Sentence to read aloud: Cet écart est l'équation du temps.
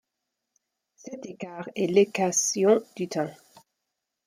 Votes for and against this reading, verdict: 0, 2, rejected